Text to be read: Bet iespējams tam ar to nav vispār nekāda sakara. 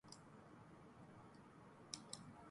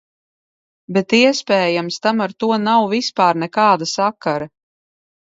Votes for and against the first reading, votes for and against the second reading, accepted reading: 1, 2, 2, 0, second